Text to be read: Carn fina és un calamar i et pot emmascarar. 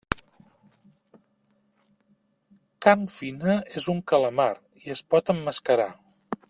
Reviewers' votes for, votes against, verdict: 0, 2, rejected